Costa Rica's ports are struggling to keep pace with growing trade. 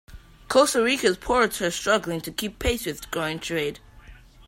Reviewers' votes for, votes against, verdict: 2, 1, accepted